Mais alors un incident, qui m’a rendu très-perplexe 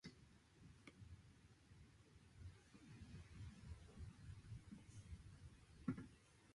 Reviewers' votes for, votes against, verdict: 1, 2, rejected